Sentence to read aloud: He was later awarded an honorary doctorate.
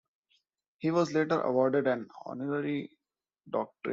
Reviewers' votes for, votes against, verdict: 0, 2, rejected